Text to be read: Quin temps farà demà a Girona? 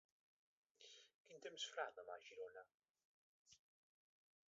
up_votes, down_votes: 0, 3